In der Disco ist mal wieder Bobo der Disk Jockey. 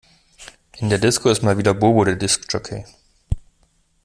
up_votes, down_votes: 2, 0